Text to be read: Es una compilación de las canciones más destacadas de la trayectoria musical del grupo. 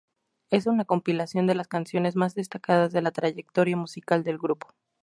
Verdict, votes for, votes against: accepted, 4, 0